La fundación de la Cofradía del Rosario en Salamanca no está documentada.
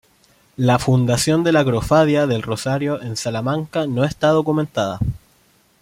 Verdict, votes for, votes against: rejected, 1, 2